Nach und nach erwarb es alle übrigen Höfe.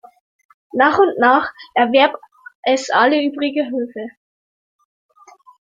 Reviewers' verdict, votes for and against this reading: rejected, 0, 2